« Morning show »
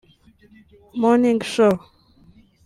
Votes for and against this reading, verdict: 1, 2, rejected